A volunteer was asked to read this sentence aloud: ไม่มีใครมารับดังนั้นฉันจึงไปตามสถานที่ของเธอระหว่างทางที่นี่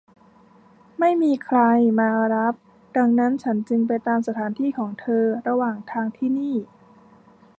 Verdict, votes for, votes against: accepted, 2, 0